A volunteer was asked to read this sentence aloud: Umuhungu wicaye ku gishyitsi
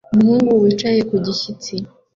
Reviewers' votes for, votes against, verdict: 2, 0, accepted